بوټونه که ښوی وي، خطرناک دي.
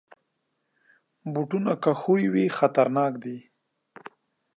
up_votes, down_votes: 3, 0